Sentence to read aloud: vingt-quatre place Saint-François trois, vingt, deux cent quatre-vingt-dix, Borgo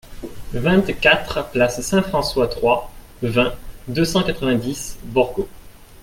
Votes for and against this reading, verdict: 2, 0, accepted